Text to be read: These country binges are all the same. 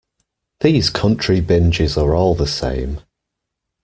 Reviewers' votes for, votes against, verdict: 1, 2, rejected